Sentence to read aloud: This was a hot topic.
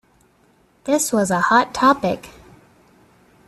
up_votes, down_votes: 2, 0